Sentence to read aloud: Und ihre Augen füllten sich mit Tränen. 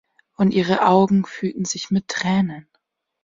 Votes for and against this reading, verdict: 1, 2, rejected